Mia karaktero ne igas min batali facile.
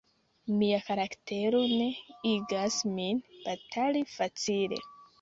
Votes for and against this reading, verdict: 3, 0, accepted